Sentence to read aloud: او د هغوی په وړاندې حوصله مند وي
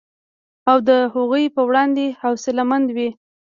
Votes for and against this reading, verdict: 1, 2, rejected